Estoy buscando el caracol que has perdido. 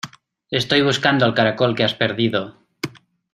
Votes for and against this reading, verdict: 1, 2, rejected